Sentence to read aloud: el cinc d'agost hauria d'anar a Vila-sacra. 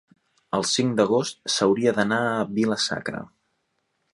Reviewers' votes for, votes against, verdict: 0, 2, rejected